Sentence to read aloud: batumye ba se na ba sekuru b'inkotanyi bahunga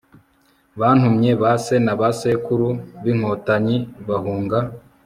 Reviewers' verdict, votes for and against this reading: rejected, 0, 2